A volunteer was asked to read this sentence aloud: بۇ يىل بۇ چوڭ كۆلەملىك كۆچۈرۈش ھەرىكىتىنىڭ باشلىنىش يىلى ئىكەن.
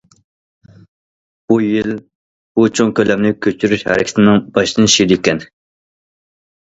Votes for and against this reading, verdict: 0, 2, rejected